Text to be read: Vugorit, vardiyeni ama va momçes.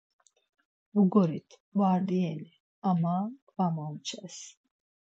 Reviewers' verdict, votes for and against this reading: accepted, 4, 0